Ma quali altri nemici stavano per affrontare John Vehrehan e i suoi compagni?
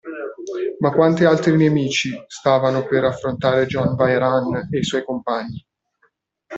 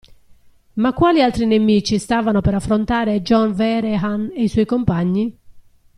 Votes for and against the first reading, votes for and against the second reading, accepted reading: 1, 2, 2, 0, second